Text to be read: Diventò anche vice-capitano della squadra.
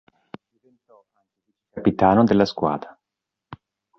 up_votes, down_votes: 0, 3